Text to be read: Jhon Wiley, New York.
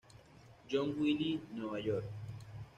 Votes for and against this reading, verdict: 1, 2, rejected